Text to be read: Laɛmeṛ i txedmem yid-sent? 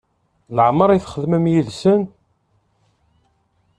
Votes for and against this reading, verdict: 1, 2, rejected